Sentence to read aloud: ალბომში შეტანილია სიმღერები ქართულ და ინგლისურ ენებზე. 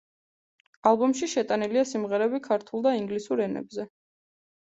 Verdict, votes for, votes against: accepted, 2, 0